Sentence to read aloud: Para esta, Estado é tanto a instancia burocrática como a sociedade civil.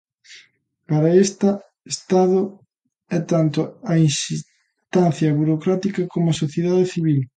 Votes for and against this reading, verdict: 0, 2, rejected